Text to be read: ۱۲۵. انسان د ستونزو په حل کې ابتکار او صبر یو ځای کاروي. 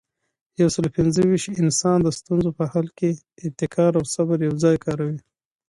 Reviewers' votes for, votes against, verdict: 0, 2, rejected